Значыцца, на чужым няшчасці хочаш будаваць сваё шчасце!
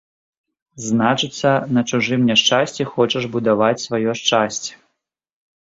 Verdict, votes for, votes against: accepted, 5, 0